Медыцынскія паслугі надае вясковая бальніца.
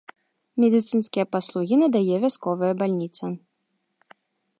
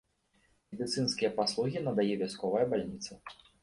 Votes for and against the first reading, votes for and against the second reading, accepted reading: 2, 0, 0, 2, first